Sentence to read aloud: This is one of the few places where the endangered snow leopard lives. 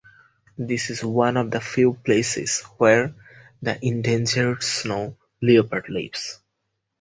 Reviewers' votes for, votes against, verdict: 4, 0, accepted